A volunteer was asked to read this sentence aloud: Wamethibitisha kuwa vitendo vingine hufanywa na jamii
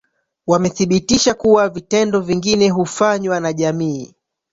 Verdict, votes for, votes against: rejected, 0, 2